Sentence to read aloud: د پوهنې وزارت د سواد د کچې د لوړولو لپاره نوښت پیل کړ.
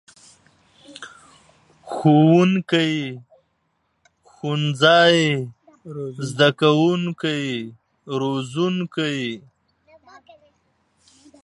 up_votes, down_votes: 0, 2